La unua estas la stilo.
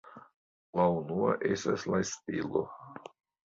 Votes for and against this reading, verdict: 2, 0, accepted